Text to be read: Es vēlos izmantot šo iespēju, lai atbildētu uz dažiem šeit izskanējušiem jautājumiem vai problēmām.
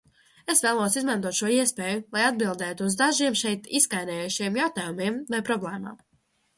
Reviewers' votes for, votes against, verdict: 1, 2, rejected